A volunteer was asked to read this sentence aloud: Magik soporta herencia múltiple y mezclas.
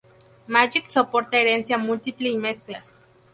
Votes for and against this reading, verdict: 0, 2, rejected